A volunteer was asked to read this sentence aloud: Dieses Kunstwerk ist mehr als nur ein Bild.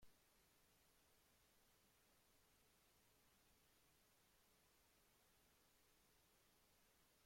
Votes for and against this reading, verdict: 0, 2, rejected